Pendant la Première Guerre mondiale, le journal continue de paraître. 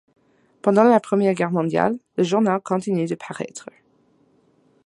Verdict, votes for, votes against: accepted, 2, 0